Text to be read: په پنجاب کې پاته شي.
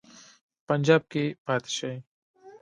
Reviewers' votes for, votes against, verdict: 3, 1, accepted